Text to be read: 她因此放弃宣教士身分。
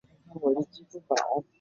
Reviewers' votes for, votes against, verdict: 0, 3, rejected